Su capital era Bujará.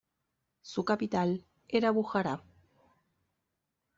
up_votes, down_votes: 2, 0